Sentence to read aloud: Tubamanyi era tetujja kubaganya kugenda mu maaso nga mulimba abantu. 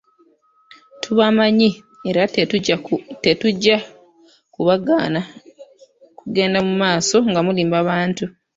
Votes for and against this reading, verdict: 0, 2, rejected